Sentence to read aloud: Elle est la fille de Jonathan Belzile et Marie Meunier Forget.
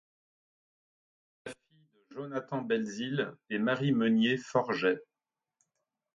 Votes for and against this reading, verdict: 0, 2, rejected